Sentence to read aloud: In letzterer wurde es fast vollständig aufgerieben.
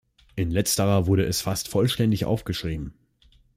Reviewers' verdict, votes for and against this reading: rejected, 0, 2